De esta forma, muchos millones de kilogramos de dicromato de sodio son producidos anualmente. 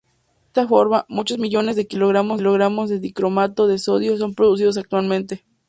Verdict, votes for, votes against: rejected, 0, 2